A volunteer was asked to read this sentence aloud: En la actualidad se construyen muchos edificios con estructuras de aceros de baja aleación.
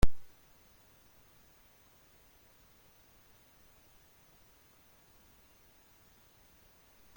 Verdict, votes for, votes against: rejected, 0, 2